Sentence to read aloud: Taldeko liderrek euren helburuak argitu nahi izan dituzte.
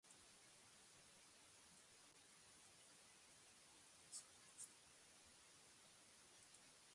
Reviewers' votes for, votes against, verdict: 0, 4, rejected